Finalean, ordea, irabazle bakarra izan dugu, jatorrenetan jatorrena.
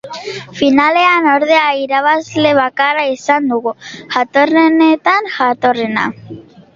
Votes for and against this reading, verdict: 0, 2, rejected